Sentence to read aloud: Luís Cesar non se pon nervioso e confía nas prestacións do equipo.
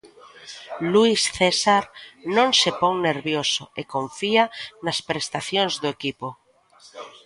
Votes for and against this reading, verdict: 0, 2, rejected